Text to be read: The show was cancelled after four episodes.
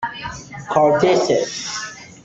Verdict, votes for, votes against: rejected, 0, 2